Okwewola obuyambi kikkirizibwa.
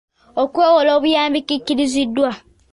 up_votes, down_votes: 2, 1